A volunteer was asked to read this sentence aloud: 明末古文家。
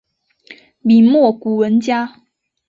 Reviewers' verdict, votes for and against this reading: accepted, 4, 0